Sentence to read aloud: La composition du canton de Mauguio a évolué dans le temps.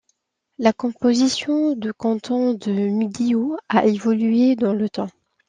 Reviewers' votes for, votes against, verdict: 0, 2, rejected